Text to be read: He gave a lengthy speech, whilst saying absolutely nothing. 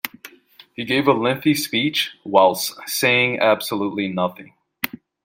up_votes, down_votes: 2, 0